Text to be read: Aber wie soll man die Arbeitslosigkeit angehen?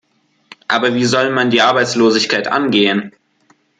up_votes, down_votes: 2, 0